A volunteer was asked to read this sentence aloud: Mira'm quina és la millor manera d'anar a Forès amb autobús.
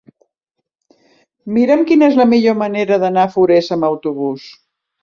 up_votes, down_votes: 4, 0